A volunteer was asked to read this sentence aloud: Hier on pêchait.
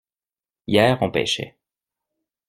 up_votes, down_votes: 2, 0